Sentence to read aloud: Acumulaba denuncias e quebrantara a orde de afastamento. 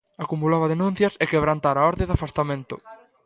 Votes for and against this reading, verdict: 1, 2, rejected